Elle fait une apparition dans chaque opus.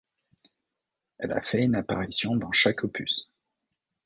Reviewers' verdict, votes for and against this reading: rejected, 0, 2